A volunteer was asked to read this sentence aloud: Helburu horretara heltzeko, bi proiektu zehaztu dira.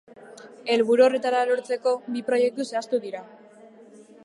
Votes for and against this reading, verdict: 0, 2, rejected